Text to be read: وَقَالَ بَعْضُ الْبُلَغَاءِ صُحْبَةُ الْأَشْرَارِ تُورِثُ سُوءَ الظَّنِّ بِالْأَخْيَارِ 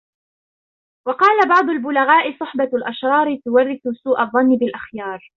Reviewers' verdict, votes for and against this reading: rejected, 1, 2